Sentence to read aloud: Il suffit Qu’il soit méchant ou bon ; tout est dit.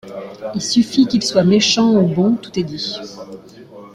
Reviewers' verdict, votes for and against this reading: accepted, 2, 0